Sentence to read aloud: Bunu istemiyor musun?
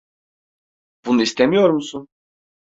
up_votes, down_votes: 2, 0